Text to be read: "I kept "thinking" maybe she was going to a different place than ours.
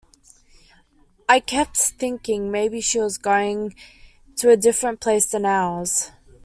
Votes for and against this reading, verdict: 2, 1, accepted